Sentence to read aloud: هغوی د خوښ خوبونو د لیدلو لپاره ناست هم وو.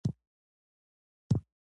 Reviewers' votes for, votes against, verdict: 1, 2, rejected